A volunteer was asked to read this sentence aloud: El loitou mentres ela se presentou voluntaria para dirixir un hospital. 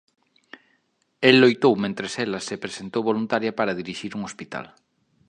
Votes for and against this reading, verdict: 2, 0, accepted